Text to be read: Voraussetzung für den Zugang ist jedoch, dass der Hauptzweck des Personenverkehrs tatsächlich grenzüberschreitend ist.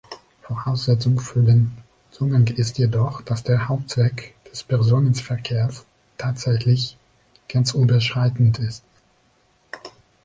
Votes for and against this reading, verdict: 2, 1, accepted